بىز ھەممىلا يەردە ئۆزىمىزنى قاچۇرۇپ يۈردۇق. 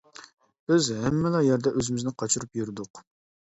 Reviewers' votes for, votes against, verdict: 2, 0, accepted